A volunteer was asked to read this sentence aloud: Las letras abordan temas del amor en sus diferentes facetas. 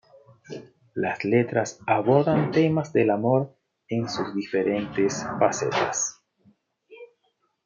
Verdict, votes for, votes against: accepted, 2, 0